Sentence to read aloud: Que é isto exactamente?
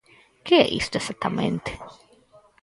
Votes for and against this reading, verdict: 0, 4, rejected